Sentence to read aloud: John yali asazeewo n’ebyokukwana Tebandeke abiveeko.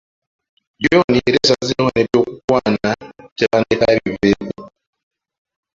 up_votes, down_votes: 2, 1